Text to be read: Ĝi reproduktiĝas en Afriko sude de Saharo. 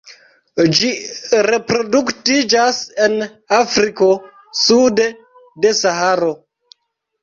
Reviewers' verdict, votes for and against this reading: rejected, 1, 2